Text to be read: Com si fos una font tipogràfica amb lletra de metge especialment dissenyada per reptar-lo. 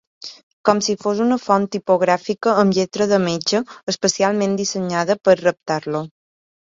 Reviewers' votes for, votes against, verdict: 2, 0, accepted